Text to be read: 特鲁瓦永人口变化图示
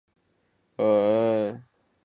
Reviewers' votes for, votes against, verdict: 0, 2, rejected